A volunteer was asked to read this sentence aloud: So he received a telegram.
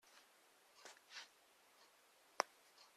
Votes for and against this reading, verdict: 0, 2, rejected